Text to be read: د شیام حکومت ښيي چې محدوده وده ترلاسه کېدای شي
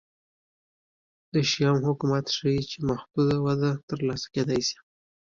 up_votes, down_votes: 2, 0